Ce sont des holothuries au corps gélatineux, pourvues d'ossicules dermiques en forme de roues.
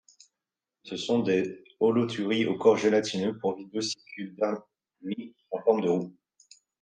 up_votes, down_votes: 1, 2